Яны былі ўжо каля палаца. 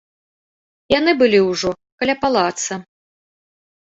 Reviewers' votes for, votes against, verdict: 2, 0, accepted